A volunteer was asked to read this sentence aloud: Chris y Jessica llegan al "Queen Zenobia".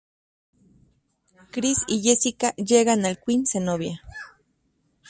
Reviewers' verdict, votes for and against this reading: accepted, 2, 0